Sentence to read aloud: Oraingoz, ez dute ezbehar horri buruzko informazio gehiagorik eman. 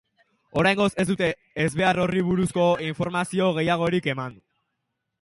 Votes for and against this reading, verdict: 3, 0, accepted